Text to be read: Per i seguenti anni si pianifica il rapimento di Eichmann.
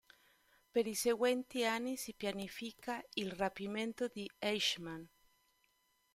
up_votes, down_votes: 2, 0